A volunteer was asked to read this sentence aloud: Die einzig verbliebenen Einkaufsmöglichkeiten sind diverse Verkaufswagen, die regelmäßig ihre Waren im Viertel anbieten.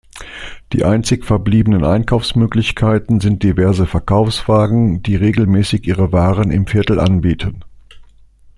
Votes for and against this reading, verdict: 2, 0, accepted